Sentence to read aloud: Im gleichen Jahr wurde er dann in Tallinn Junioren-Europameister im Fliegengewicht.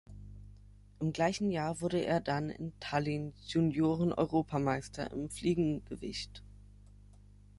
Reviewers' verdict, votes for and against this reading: accepted, 3, 0